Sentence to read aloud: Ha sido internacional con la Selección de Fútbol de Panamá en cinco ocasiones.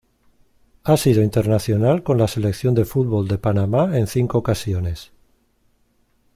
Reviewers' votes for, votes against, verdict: 2, 0, accepted